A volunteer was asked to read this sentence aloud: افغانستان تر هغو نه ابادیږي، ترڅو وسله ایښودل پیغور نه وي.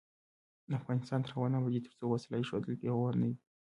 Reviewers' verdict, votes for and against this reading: rejected, 0, 2